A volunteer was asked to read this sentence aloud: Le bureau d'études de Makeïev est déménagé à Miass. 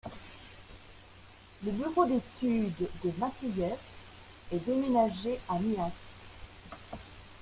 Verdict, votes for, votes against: rejected, 0, 2